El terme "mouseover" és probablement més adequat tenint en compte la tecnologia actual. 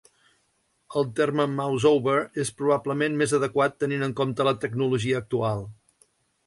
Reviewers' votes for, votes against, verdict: 2, 0, accepted